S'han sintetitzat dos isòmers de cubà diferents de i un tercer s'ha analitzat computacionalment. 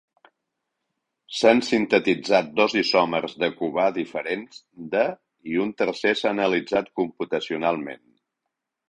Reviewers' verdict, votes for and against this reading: accepted, 3, 0